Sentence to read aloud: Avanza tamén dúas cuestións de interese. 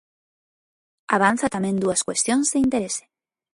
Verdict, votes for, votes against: accepted, 2, 0